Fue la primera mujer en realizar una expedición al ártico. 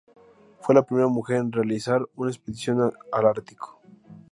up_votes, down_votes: 0, 2